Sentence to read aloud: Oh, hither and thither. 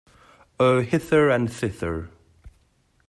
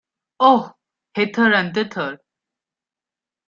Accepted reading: first